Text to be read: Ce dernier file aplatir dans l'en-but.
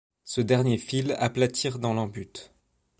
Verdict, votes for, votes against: rejected, 0, 2